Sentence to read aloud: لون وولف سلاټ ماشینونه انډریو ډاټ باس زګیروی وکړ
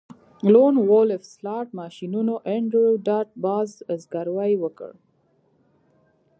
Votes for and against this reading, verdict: 1, 2, rejected